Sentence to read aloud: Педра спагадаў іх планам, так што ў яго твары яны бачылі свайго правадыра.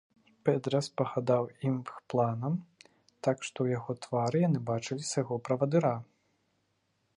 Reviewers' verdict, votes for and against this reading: rejected, 0, 2